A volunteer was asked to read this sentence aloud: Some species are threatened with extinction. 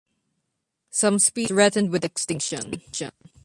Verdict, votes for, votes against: rejected, 0, 2